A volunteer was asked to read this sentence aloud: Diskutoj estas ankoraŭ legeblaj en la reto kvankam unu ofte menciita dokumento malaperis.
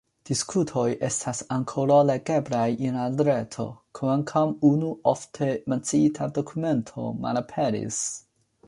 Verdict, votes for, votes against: accepted, 2, 0